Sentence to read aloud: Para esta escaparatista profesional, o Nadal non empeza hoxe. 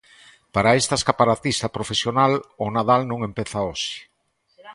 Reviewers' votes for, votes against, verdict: 3, 2, accepted